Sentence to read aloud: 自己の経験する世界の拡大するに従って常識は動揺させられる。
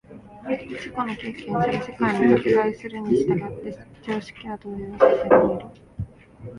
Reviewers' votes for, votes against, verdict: 0, 2, rejected